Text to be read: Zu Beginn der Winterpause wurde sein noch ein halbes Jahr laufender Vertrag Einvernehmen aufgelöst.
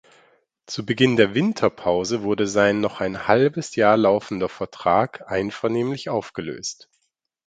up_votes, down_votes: 2, 4